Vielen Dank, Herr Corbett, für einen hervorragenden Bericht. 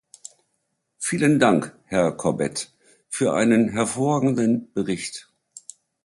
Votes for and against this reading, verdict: 2, 0, accepted